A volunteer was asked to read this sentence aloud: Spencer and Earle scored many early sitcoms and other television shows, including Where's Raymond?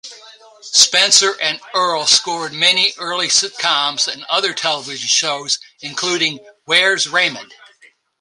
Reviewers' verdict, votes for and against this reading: accepted, 2, 0